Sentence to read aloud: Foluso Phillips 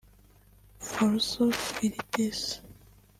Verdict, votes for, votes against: rejected, 1, 2